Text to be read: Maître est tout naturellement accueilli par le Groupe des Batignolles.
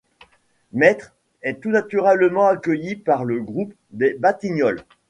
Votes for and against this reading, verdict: 2, 0, accepted